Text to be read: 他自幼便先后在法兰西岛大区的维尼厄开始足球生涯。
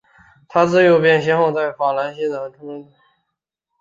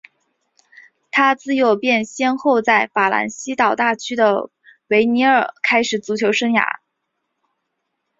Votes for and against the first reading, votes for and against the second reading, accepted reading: 0, 6, 2, 0, second